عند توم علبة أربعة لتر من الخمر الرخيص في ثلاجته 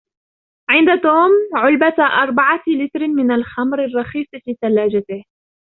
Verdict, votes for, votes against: rejected, 1, 2